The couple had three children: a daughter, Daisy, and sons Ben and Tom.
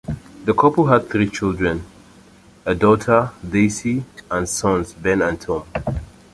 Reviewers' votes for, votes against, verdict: 1, 2, rejected